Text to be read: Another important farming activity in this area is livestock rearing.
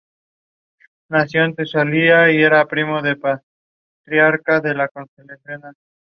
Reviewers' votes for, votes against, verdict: 0, 2, rejected